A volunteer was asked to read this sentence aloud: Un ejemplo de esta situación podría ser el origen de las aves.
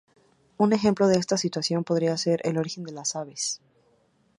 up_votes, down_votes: 2, 0